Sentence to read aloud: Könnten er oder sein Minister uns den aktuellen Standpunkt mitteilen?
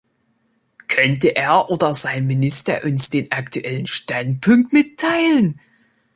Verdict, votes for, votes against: rejected, 0, 2